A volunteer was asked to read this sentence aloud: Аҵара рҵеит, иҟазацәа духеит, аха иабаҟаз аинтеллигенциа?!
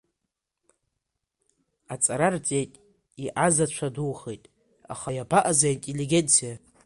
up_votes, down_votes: 2, 0